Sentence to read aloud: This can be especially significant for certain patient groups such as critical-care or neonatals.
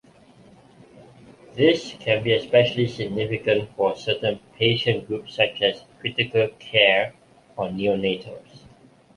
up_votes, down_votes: 0, 2